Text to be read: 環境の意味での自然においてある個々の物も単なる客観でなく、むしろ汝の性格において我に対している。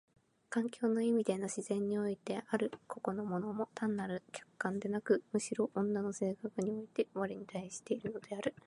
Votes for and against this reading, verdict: 0, 2, rejected